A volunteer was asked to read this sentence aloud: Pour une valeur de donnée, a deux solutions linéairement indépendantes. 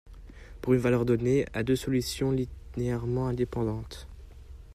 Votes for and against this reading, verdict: 0, 2, rejected